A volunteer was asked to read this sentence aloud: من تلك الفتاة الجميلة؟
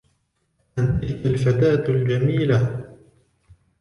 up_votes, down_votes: 2, 0